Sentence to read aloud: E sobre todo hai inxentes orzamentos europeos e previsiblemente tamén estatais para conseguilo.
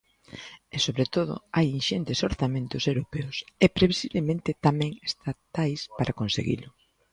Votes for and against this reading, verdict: 2, 0, accepted